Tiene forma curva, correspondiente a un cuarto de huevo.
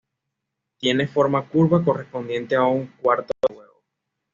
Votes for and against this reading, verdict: 1, 2, rejected